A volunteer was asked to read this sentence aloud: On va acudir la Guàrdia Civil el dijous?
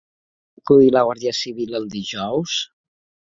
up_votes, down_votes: 0, 3